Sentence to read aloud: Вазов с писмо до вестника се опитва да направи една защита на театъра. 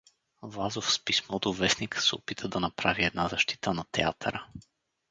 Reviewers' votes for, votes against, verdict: 2, 2, rejected